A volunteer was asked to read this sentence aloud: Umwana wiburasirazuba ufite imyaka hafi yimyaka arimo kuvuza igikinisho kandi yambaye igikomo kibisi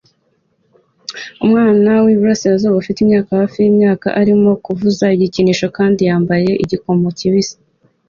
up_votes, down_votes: 2, 0